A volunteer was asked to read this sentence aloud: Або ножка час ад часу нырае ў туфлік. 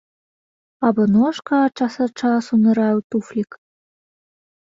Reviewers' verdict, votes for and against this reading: accepted, 2, 0